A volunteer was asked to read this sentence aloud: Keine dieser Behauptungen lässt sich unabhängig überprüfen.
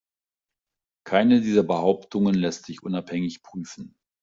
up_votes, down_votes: 1, 2